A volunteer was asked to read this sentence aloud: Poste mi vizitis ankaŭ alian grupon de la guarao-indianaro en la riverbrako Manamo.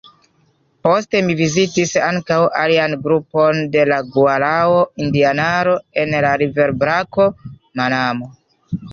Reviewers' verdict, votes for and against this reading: accepted, 2, 0